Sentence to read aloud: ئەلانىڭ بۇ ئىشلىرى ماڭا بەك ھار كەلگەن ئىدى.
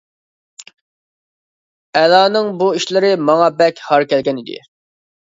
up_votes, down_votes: 2, 1